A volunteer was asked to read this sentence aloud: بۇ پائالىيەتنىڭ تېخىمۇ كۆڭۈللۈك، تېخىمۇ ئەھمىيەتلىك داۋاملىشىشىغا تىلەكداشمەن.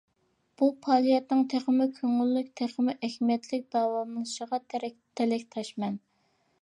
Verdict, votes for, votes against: rejected, 0, 2